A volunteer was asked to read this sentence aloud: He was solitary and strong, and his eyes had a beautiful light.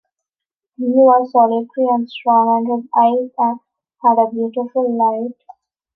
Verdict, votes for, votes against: rejected, 1, 2